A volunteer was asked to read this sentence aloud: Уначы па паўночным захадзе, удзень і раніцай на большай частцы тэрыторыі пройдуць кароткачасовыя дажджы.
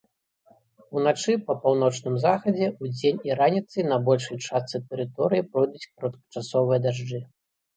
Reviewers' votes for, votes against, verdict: 3, 0, accepted